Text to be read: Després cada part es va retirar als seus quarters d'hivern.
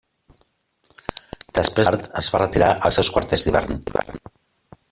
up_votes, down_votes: 0, 2